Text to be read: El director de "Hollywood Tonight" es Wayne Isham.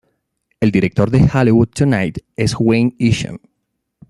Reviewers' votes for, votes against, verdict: 2, 0, accepted